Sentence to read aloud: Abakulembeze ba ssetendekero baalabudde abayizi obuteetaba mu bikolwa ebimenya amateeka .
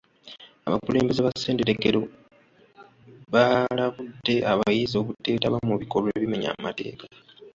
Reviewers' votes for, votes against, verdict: 2, 1, accepted